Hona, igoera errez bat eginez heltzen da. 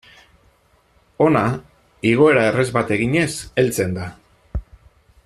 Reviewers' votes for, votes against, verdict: 2, 0, accepted